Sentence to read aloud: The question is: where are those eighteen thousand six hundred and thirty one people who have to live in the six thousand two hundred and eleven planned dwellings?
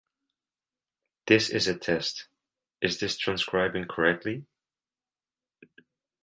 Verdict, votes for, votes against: rejected, 0, 2